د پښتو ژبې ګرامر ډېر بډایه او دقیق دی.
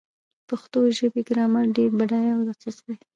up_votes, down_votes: 1, 2